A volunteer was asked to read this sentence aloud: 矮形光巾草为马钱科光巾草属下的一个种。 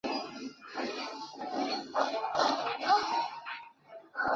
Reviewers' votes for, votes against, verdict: 1, 2, rejected